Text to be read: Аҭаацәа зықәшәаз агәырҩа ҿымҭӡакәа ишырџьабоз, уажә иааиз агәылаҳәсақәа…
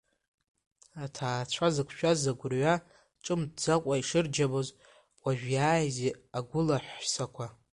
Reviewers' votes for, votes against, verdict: 2, 0, accepted